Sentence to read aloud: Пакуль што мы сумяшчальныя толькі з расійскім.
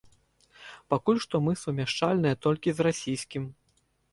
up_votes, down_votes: 4, 0